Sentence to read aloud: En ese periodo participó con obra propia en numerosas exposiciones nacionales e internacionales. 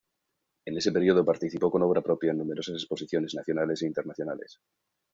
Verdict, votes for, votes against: rejected, 1, 2